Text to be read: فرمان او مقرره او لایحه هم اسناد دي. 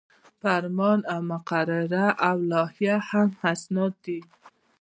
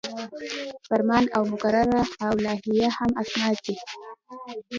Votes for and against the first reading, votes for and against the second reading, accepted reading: 1, 2, 2, 1, second